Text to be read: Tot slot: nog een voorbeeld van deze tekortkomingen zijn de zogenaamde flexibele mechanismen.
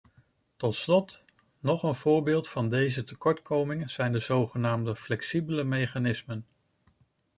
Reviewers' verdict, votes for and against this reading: accepted, 2, 0